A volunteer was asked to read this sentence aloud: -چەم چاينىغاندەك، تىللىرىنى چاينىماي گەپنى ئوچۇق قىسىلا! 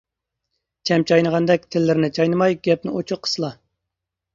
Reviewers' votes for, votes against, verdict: 2, 0, accepted